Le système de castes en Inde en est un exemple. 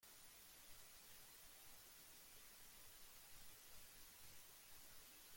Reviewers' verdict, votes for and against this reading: rejected, 0, 2